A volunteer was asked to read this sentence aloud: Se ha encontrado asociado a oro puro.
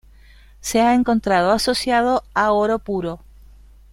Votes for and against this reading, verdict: 2, 1, accepted